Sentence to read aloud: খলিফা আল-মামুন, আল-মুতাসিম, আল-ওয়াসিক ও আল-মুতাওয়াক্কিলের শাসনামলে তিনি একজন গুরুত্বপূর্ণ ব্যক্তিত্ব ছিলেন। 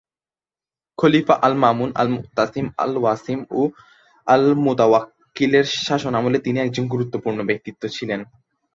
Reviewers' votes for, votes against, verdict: 0, 2, rejected